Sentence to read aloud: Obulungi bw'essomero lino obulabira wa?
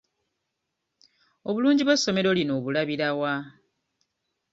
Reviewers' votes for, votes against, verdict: 2, 0, accepted